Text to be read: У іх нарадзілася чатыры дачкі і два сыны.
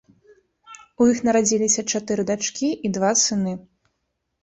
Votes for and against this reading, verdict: 2, 0, accepted